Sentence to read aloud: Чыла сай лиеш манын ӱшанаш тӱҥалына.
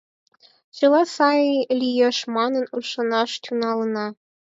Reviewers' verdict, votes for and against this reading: accepted, 4, 0